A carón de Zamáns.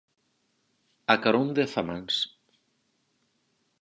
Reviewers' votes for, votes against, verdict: 4, 0, accepted